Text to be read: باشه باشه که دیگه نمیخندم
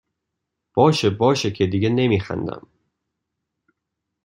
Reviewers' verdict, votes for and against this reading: accepted, 2, 0